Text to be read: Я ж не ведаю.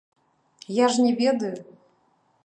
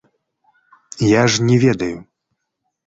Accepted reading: second